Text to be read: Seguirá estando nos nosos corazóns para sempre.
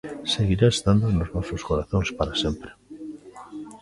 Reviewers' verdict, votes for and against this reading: accepted, 2, 0